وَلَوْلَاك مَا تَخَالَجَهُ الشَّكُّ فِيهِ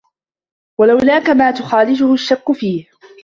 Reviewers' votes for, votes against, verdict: 1, 2, rejected